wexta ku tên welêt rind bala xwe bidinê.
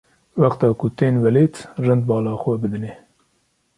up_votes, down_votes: 2, 0